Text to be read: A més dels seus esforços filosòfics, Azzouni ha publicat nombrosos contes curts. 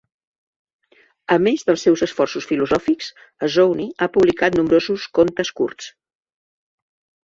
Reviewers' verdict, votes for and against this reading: accepted, 2, 0